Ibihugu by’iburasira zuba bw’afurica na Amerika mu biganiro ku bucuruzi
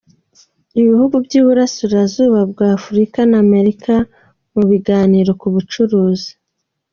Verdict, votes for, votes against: accepted, 2, 0